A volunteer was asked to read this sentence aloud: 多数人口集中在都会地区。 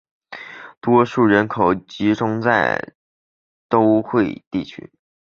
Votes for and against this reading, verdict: 4, 0, accepted